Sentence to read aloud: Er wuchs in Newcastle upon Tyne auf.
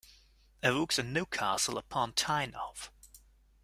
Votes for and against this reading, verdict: 2, 0, accepted